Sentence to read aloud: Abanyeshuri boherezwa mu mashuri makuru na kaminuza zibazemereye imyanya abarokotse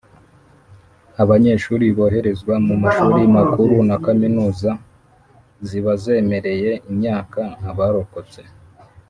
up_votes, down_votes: 1, 2